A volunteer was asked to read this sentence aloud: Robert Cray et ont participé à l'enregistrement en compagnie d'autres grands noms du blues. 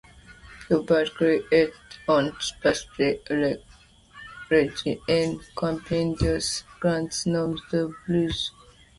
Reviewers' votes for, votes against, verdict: 1, 2, rejected